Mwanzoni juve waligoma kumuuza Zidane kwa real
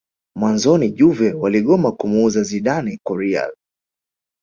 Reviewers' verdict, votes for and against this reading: accepted, 2, 0